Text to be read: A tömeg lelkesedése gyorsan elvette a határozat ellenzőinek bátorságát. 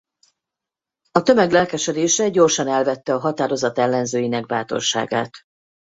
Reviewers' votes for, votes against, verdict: 4, 0, accepted